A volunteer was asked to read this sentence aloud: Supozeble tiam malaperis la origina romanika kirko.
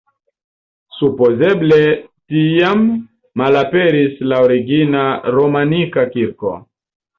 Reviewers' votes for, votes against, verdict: 2, 0, accepted